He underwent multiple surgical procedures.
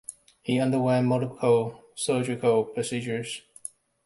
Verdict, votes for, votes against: accepted, 2, 0